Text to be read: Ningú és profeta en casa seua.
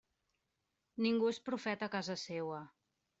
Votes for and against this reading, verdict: 2, 0, accepted